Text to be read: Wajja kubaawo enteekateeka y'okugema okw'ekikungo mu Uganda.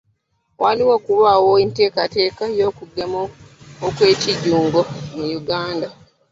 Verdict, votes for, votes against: rejected, 0, 2